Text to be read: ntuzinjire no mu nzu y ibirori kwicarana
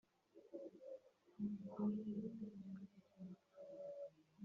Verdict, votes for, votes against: rejected, 0, 2